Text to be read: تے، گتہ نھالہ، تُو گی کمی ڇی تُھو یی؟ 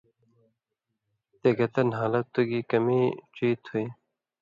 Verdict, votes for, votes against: accepted, 2, 0